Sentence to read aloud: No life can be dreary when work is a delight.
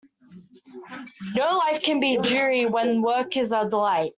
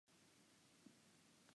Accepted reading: first